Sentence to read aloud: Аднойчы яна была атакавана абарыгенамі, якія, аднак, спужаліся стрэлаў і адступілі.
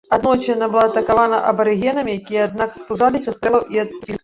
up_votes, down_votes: 0, 2